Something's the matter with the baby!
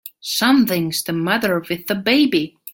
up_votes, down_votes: 2, 0